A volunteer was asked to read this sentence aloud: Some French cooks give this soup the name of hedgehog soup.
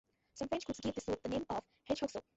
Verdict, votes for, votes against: rejected, 0, 2